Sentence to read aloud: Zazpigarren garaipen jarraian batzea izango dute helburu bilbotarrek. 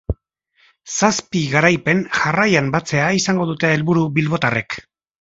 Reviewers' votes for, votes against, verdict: 1, 2, rejected